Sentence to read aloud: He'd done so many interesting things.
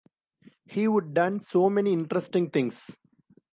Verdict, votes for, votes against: rejected, 0, 2